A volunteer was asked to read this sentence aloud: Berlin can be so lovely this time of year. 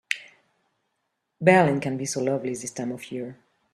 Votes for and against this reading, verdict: 4, 0, accepted